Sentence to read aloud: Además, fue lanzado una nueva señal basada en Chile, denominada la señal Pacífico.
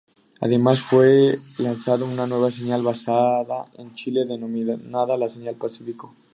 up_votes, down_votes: 2, 0